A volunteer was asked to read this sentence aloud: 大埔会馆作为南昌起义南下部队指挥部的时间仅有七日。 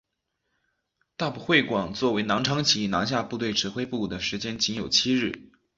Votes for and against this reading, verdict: 2, 1, accepted